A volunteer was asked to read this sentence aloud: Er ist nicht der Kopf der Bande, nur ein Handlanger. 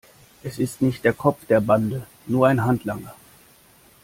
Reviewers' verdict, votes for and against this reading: rejected, 0, 2